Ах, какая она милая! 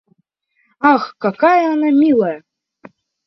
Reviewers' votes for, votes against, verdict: 2, 0, accepted